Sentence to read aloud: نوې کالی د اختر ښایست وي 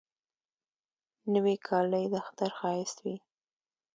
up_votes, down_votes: 2, 0